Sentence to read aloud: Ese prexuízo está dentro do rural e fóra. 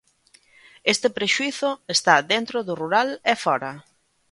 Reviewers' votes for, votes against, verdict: 0, 2, rejected